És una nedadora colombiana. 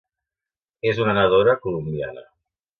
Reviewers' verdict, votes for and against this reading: rejected, 0, 2